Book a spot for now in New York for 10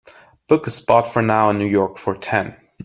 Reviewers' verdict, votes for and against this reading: rejected, 0, 2